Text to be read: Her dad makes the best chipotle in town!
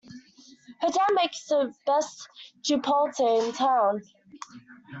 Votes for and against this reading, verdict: 1, 2, rejected